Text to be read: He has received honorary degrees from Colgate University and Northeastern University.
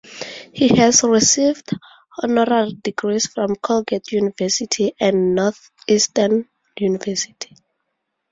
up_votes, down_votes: 0, 2